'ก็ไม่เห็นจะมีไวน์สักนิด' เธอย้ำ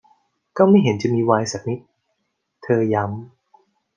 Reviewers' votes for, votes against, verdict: 2, 0, accepted